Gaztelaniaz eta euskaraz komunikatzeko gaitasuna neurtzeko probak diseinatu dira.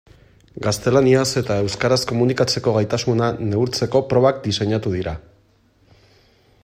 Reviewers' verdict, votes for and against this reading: accepted, 2, 0